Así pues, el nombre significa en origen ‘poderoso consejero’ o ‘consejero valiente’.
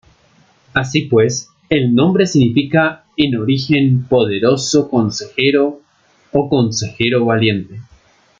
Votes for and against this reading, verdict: 2, 0, accepted